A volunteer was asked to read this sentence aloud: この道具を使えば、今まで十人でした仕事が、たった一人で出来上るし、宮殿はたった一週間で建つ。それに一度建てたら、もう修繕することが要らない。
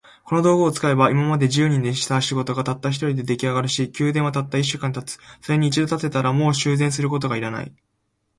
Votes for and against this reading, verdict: 2, 0, accepted